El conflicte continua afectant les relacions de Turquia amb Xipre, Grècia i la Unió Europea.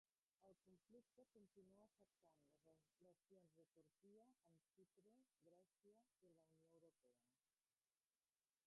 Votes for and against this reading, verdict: 0, 2, rejected